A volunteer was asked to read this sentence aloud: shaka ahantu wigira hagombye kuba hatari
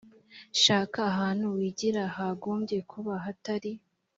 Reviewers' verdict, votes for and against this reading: accepted, 2, 0